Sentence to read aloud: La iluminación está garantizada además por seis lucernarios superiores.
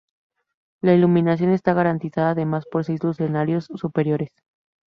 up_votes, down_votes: 0, 2